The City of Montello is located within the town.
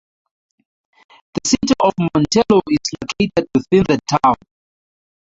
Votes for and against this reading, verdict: 2, 0, accepted